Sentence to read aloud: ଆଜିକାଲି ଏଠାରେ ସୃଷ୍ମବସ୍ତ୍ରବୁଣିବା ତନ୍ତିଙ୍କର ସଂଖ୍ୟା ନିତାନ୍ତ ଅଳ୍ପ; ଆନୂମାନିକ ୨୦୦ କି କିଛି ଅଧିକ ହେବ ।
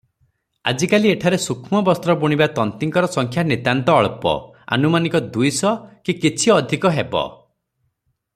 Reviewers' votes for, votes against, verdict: 0, 2, rejected